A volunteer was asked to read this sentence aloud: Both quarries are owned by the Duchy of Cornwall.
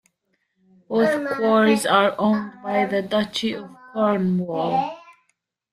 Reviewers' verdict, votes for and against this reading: rejected, 1, 2